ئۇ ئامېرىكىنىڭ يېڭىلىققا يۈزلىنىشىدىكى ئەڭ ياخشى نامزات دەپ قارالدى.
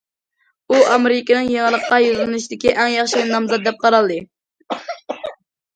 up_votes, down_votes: 0, 2